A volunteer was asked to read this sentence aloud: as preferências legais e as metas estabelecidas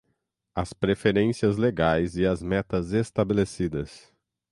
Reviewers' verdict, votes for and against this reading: accepted, 3, 0